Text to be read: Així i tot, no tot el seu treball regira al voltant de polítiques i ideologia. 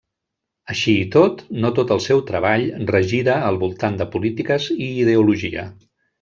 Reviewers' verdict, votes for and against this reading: rejected, 1, 2